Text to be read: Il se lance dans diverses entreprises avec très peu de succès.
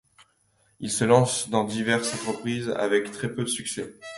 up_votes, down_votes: 2, 0